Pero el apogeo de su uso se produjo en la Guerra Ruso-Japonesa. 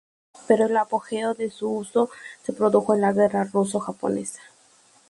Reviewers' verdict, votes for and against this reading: accepted, 2, 0